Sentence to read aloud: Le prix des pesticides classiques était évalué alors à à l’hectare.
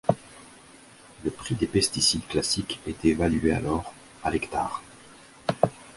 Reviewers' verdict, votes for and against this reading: rejected, 1, 2